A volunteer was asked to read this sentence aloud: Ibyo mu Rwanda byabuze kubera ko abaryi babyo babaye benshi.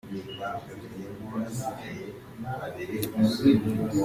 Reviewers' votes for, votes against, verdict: 0, 2, rejected